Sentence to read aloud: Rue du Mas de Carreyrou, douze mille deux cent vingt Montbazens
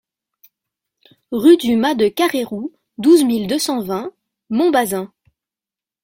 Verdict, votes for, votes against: accepted, 3, 0